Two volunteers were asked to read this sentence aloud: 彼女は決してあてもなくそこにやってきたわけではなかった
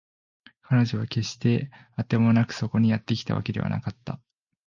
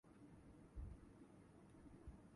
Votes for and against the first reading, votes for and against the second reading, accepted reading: 2, 0, 0, 2, first